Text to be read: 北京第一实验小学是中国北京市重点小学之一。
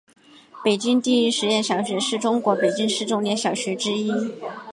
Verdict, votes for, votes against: accepted, 3, 0